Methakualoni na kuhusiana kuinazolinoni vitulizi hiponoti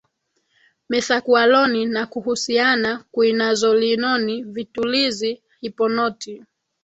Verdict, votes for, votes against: accepted, 2, 0